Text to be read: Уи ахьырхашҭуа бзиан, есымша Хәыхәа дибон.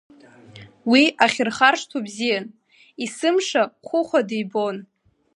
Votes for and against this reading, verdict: 2, 1, accepted